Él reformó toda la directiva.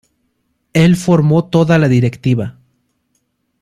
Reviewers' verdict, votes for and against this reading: rejected, 0, 2